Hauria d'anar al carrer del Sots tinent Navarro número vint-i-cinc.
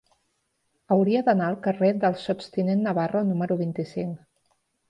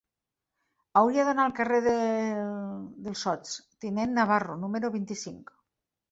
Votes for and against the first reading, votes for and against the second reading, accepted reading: 2, 0, 0, 2, first